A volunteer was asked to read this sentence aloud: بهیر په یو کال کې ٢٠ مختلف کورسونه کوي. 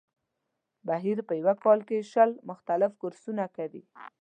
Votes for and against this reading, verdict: 0, 2, rejected